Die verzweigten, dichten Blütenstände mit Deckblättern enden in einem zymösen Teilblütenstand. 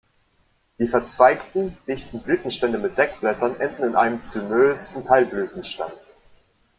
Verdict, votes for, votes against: rejected, 0, 2